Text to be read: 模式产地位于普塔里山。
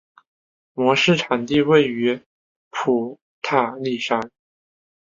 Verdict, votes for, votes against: accepted, 4, 0